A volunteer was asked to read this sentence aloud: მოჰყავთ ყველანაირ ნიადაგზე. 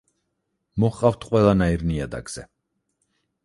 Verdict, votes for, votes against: accepted, 6, 0